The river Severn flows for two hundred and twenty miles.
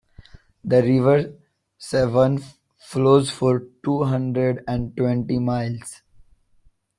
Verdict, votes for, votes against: accepted, 2, 0